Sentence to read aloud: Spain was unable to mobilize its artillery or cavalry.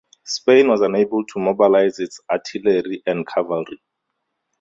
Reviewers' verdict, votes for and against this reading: rejected, 2, 2